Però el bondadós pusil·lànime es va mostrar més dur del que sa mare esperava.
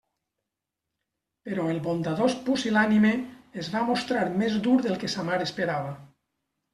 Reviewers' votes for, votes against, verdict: 2, 0, accepted